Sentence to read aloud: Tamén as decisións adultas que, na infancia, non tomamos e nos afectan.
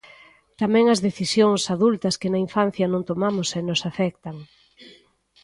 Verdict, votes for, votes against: rejected, 1, 2